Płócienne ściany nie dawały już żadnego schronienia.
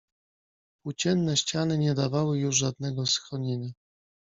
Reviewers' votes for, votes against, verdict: 1, 2, rejected